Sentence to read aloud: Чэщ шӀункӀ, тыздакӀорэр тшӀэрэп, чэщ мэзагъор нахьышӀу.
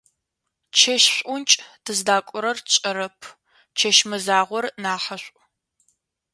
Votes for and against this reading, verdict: 2, 0, accepted